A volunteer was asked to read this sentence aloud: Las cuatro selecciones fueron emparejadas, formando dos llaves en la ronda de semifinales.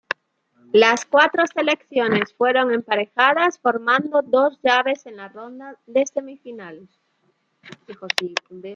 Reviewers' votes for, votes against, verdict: 2, 0, accepted